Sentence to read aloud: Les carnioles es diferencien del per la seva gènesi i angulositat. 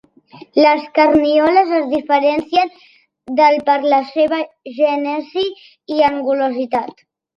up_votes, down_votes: 2, 0